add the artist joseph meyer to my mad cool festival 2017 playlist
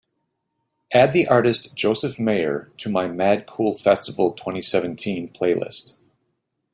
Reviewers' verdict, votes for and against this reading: rejected, 0, 2